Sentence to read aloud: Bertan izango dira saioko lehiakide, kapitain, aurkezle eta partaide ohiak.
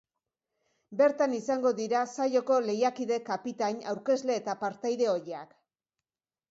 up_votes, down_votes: 2, 0